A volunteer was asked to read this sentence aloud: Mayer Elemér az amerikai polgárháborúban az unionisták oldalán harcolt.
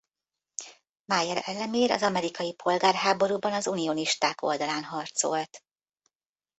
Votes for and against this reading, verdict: 1, 2, rejected